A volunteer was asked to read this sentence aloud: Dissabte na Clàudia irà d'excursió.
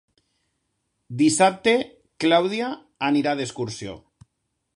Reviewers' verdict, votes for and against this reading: rejected, 0, 2